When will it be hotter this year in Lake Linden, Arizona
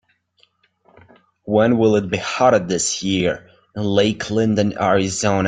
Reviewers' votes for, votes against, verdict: 2, 1, accepted